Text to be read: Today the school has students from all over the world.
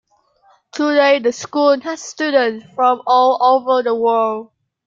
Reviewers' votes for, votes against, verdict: 0, 2, rejected